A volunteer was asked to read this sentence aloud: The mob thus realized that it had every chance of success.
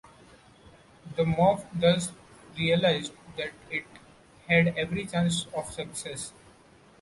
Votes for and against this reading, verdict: 2, 0, accepted